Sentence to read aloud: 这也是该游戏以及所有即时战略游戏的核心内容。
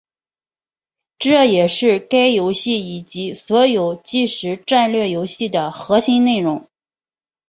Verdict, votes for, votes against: accepted, 2, 1